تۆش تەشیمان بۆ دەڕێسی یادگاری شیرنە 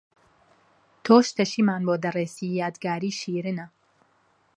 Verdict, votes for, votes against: accepted, 2, 0